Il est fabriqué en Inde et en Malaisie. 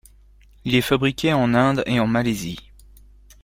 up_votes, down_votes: 2, 0